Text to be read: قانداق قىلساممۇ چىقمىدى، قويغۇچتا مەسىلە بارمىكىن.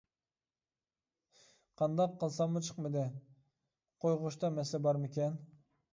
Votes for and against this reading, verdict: 2, 0, accepted